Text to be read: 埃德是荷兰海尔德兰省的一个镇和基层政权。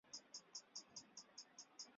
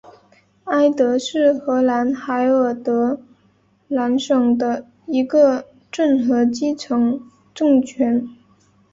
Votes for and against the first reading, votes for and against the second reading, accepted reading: 1, 2, 3, 1, second